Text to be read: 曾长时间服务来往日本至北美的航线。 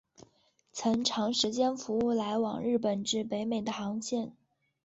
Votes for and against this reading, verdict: 5, 0, accepted